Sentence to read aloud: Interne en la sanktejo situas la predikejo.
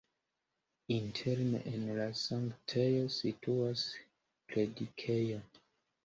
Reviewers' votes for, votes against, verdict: 2, 0, accepted